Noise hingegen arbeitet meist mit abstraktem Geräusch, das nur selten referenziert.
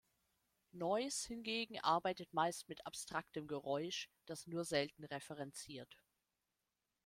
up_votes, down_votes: 2, 0